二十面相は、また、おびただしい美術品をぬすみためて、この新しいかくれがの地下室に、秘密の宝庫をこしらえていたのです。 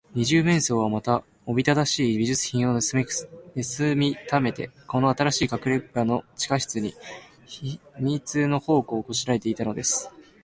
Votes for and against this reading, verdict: 3, 3, rejected